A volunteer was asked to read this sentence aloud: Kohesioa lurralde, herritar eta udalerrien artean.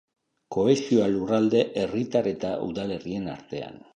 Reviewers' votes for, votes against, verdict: 3, 0, accepted